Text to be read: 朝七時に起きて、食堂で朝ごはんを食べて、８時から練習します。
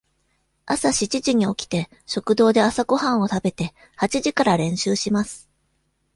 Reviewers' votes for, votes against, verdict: 0, 2, rejected